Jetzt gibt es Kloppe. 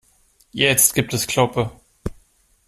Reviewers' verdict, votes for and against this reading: accepted, 2, 0